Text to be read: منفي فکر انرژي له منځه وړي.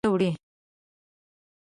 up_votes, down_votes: 1, 2